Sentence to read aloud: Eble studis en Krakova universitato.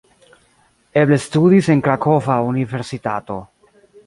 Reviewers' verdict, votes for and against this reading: rejected, 1, 2